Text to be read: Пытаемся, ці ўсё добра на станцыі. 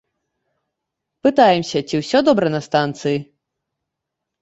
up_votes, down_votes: 2, 0